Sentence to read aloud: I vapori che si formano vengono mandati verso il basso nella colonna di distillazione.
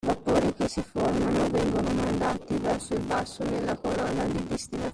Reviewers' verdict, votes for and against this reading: rejected, 0, 2